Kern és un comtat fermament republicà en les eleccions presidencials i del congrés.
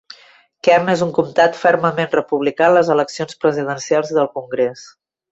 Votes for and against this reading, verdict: 2, 0, accepted